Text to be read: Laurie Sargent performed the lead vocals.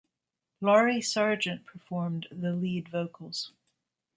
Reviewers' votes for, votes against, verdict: 1, 2, rejected